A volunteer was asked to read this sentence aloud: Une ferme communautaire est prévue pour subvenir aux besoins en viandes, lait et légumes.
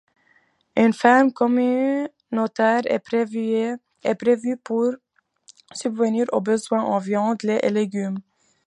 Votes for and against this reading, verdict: 0, 2, rejected